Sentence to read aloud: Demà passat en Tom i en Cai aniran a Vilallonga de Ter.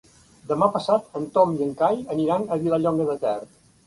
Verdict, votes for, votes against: accepted, 2, 0